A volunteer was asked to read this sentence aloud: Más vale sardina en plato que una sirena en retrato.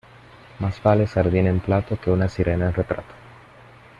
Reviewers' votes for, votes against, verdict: 2, 0, accepted